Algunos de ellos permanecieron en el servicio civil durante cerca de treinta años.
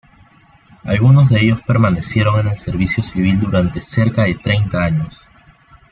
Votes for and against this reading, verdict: 2, 0, accepted